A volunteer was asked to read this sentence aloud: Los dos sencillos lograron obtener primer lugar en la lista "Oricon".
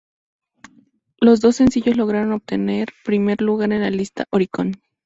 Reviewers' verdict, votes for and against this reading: accepted, 2, 0